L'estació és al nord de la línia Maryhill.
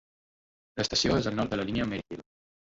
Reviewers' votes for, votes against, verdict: 2, 1, accepted